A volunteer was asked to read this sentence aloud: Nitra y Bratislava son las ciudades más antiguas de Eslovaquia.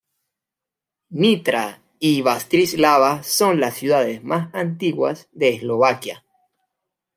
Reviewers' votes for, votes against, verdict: 0, 2, rejected